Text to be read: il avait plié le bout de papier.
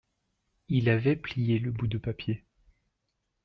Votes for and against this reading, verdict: 2, 0, accepted